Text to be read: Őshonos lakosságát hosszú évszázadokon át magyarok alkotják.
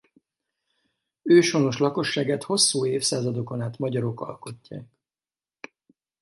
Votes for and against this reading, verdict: 4, 0, accepted